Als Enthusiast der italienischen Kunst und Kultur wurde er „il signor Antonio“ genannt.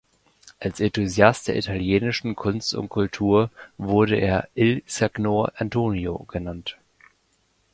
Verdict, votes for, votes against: rejected, 1, 2